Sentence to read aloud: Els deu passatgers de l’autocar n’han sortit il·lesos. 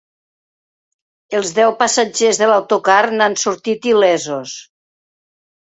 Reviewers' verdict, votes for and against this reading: accepted, 2, 0